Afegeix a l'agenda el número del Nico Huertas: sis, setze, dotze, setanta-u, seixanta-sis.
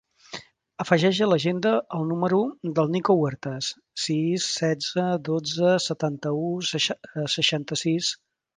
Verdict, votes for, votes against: rejected, 0, 3